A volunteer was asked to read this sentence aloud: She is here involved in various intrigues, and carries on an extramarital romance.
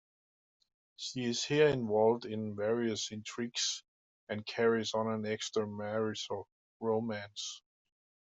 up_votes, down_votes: 2, 0